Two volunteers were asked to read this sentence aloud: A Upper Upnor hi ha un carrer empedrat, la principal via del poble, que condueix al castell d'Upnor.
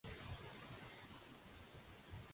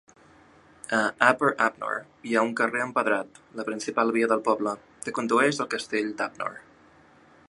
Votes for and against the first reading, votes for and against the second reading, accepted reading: 0, 2, 2, 0, second